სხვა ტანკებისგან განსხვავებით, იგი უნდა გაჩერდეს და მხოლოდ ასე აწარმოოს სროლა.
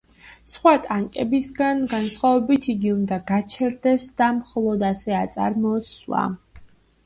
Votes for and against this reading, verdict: 1, 2, rejected